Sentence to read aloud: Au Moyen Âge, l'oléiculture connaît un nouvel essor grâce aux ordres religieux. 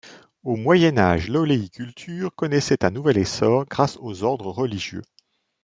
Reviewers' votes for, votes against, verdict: 0, 2, rejected